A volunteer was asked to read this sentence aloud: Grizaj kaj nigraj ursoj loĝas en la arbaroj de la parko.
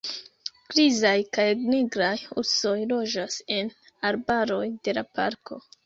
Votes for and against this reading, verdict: 1, 2, rejected